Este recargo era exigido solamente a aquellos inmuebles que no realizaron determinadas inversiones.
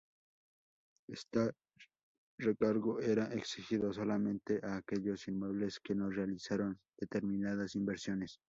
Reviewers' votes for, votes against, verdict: 0, 2, rejected